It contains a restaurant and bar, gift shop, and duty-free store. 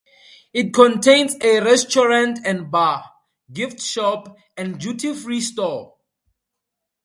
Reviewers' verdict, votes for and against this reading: accepted, 2, 0